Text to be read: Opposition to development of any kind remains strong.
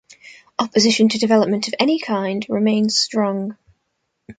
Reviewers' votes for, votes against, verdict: 2, 0, accepted